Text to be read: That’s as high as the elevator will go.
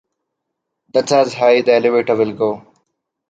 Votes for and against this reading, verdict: 1, 2, rejected